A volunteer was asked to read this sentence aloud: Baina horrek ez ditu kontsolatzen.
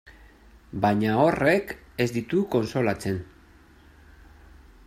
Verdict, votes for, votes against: rejected, 0, 2